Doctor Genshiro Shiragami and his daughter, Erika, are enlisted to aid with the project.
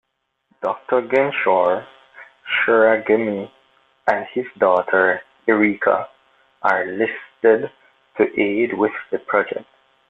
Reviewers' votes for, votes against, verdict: 1, 2, rejected